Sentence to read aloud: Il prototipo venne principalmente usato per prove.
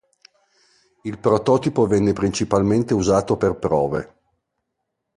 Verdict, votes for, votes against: accepted, 2, 0